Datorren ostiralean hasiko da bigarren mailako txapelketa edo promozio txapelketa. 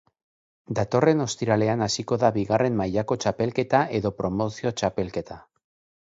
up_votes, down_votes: 2, 0